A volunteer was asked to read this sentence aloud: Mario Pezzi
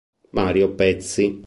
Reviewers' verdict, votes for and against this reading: accepted, 2, 0